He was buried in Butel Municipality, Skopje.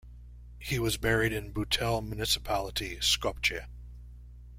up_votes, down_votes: 1, 2